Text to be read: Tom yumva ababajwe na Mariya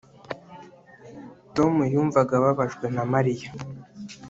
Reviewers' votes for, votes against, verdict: 1, 2, rejected